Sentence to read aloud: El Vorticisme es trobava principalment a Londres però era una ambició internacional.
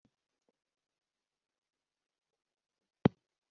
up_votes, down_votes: 0, 2